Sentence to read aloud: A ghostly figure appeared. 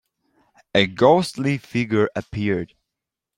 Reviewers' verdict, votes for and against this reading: accepted, 4, 1